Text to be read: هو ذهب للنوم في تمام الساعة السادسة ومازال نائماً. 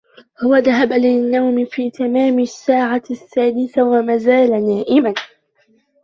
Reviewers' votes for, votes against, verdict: 0, 2, rejected